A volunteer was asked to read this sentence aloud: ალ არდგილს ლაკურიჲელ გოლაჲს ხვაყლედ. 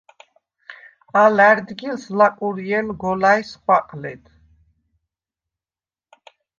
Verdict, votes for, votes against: rejected, 0, 2